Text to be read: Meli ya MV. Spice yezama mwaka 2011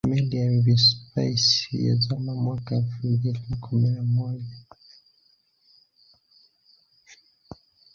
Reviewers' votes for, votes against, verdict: 0, 2, rejected